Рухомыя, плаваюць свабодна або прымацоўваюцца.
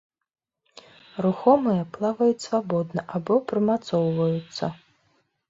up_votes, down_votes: 2, 1